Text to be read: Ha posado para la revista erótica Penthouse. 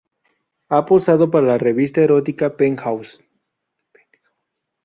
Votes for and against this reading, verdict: 2, 0, accepted